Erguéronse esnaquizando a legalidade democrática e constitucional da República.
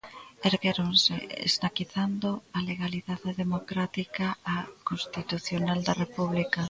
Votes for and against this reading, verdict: 0, 2, rejected